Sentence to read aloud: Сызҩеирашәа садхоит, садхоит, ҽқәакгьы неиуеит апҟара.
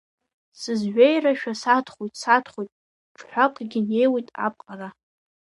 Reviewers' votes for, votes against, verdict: 0, 2, rejected